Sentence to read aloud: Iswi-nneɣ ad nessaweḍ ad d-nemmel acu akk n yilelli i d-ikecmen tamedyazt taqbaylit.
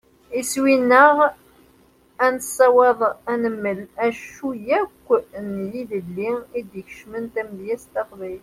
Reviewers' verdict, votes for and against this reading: rejected, 0, 2